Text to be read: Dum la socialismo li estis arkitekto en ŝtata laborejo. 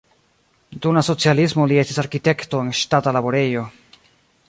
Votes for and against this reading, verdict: 1, 2, rejected